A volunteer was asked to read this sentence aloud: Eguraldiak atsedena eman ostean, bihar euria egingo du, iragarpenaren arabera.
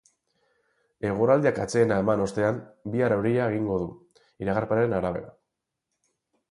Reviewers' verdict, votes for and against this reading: accepted, 4, 0